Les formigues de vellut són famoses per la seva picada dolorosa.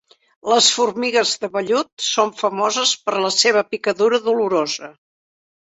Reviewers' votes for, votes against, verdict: 0, 2, rejected